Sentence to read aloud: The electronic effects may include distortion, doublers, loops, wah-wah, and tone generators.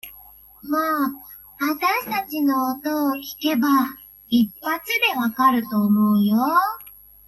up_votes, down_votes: 0, 2